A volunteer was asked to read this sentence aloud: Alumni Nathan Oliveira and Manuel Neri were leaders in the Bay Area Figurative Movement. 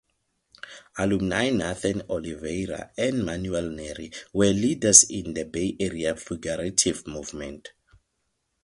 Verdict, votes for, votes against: accepted, 6, 0